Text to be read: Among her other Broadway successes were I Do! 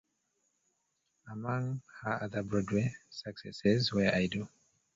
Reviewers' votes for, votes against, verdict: 2, 3, rejected